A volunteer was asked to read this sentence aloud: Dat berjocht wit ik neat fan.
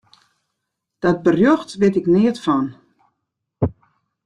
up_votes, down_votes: 2, 0